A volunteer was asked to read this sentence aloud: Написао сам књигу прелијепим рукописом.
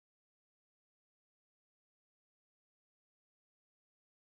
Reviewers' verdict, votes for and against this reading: rejected, 0, 2